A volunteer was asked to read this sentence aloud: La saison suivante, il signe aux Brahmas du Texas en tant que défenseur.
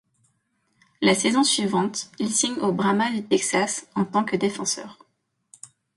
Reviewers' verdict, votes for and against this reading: accepted, 2, 0